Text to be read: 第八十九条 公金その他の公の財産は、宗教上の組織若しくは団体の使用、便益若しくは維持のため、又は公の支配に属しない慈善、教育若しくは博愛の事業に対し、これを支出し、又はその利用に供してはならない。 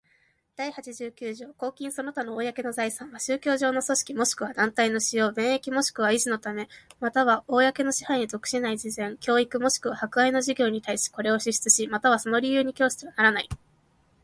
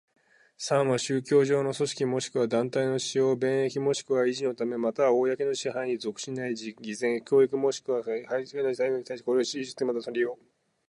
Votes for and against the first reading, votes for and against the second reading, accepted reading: 2, 0, 2, 6, first